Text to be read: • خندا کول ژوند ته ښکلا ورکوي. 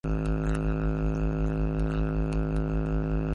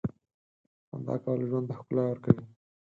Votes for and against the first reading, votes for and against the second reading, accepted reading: 0, 2, 8, 4, second